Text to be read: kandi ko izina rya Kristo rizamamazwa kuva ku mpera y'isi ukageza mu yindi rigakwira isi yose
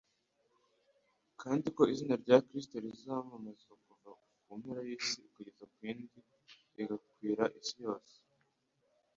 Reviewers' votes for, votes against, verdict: 3, 0, accepted